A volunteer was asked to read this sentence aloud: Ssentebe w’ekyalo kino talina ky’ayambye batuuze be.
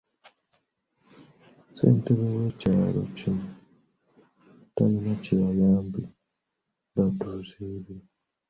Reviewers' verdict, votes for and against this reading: accepted, 2, 0